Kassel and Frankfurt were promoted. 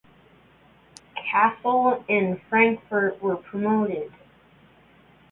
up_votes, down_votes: 2, 1